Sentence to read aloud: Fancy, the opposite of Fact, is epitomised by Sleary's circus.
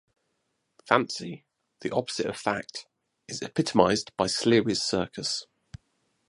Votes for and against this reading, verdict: 2, 2, rejected